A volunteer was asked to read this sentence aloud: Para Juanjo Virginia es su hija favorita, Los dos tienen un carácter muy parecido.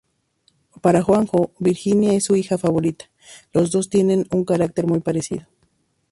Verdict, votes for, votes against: accepted, 2, 0